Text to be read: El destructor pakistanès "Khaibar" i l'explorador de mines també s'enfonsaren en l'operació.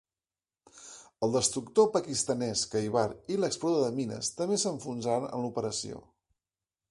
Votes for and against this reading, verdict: 1, 2, rejected